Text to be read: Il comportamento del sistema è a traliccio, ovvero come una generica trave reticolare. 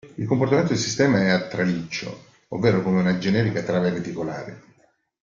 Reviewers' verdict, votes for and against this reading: accepted, 2, 0